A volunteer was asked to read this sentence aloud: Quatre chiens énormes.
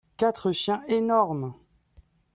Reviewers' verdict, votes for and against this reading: rejected, 0, 2